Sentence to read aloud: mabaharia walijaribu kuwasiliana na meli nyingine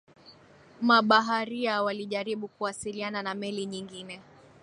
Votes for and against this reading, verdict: 2, 0, accepted